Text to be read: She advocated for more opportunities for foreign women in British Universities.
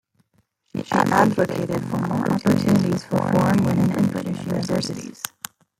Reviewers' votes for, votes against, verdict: 0, 2, rejected